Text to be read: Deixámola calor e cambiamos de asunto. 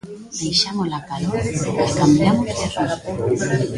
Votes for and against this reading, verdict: 0, 3, rejected